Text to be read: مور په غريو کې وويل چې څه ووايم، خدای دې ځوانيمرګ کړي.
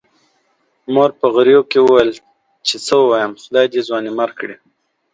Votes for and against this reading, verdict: 2, 0, accepted